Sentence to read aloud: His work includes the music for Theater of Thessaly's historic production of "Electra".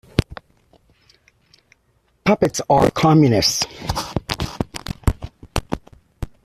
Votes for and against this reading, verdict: 1, 2, rejected